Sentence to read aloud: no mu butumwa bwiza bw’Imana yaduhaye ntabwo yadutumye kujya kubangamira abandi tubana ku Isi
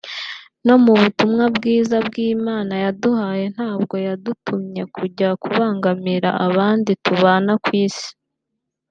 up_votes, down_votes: 2, 1